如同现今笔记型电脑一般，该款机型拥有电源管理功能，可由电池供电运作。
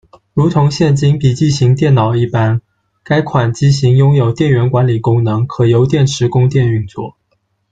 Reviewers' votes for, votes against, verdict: 2, 0, accepted